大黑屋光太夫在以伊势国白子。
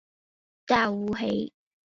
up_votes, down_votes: 1, 3